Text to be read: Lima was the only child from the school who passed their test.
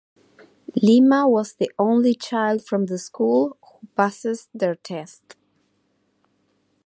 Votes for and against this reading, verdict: 2, 0, accepted